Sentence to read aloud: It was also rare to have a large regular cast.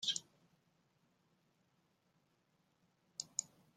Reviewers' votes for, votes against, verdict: 0, 2, rejected